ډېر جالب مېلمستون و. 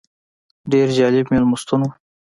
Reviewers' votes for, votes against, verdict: 1, 2, rejected